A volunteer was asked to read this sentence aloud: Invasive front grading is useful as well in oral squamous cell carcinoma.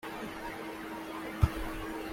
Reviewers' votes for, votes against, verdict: 1, 2, rejected